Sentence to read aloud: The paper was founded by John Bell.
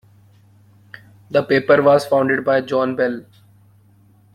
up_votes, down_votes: 2, 0